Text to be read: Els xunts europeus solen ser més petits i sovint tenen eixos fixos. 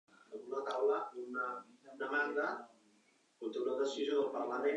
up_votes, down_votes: 0, 2